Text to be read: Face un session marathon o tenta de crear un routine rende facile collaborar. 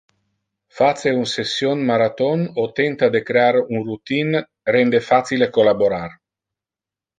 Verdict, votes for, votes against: accepted, 2, 0